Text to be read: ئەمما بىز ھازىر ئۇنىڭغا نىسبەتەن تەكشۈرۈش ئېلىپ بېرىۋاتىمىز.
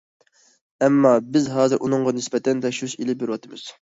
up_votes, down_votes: 2, 0